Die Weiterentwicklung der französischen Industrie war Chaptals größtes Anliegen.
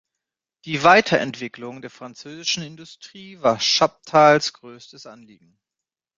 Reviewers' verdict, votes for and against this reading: accepted, 2, 0